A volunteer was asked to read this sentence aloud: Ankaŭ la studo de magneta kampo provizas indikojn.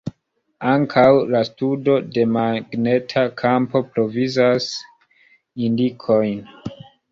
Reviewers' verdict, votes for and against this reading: rejected, 2, 3